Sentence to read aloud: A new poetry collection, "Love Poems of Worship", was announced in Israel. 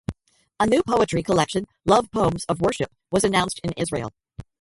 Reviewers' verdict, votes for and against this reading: accepted, 2, 0